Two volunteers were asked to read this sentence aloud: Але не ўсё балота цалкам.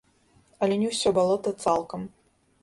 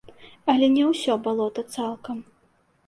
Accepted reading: second